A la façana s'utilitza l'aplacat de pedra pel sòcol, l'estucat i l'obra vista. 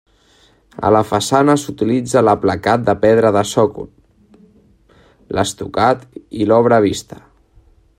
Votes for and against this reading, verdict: 0, 2, rejected